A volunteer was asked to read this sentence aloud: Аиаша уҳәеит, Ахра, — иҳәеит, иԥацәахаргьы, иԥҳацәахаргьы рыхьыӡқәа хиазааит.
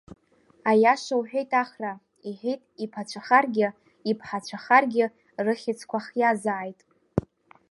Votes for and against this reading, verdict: 0, 2, rejected